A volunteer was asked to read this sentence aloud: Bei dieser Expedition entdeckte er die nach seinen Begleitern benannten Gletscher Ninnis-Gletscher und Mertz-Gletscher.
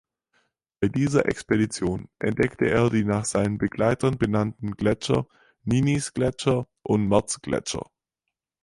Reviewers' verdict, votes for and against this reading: accepted, 6, 0